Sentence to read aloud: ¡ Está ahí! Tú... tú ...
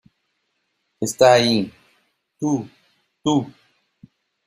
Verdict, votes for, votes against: accepted, 2, 0